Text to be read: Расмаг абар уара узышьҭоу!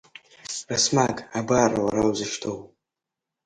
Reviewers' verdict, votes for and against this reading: accepted, 2, 0